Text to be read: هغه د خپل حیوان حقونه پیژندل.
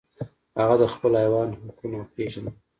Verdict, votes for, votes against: accepted, 2, 0